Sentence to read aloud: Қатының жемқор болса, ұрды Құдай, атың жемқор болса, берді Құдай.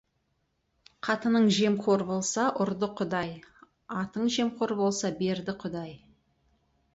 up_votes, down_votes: 2, 2